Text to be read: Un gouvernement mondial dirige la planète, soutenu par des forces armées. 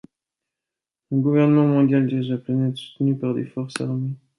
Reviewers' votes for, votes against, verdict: 0, 2, rejected